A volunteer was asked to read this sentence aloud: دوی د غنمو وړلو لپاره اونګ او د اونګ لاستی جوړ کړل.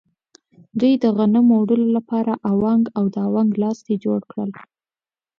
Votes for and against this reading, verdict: 2, 0, accepted